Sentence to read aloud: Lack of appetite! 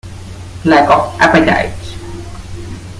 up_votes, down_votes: 2, 0